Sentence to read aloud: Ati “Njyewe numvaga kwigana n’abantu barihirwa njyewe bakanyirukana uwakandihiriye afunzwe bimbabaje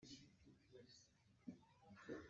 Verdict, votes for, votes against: rejected, 0, 2